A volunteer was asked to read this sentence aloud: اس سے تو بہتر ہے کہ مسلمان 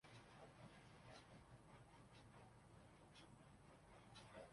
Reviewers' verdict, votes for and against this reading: rejected, 0, 2